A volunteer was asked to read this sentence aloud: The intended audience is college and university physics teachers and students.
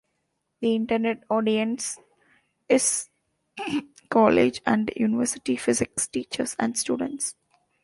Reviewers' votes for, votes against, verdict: 1, 2, rejected